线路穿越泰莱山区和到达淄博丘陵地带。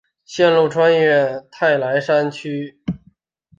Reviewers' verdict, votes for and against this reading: accepted, 3, 1